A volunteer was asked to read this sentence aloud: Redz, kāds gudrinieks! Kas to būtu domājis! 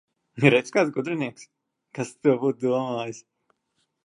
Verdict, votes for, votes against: accepted, 2, 1